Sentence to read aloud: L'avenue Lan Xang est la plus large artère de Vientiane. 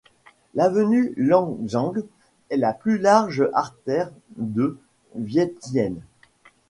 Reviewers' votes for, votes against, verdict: 0, 2, rejected